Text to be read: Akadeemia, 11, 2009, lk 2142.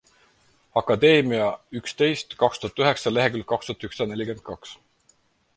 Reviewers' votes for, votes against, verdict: 0, 2, rejected